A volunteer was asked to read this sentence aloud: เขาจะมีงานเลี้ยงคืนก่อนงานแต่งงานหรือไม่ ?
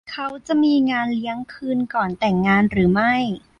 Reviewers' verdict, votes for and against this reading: rejected, 1, 2